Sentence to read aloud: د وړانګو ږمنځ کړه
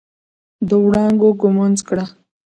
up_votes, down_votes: 1, 2